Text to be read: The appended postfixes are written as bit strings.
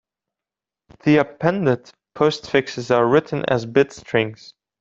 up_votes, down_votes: 2, 0